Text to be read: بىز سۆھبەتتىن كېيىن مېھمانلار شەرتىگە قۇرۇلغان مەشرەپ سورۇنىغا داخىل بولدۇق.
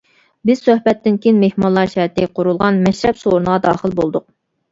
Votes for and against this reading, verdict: 1, 2, rejected